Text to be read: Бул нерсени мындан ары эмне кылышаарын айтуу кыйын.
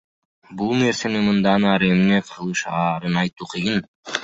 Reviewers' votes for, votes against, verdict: 1, 2, rejected